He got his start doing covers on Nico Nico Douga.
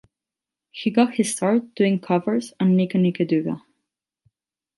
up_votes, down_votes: 0, 4